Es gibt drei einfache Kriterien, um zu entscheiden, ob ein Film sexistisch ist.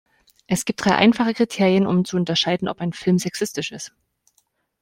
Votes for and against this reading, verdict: 1, 2, rejected